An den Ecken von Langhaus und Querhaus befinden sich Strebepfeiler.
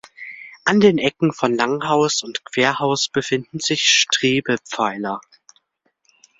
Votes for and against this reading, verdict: 3, 0, accepted